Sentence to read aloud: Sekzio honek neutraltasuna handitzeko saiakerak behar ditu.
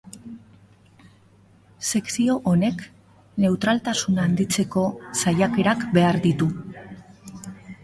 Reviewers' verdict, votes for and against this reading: accepted, 4, 0